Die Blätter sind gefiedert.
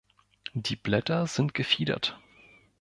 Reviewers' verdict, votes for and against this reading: accepted, 2, 0